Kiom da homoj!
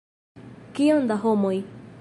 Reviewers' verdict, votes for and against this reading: accepted, 2, 0